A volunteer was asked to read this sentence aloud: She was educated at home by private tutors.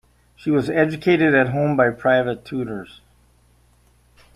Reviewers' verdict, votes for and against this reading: accepted, 2, 0